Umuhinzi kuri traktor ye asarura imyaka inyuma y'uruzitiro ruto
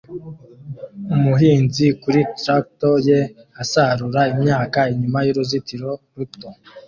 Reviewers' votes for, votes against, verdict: 2, 1, accepted